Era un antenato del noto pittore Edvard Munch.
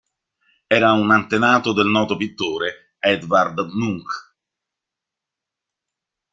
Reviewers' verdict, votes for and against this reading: accepted, 2, 0